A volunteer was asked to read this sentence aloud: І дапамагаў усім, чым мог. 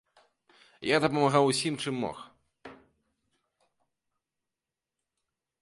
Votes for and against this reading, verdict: 0, 2, rejected